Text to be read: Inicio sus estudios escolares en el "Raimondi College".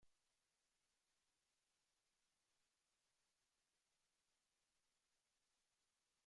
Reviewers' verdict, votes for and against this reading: rejected, 0, 2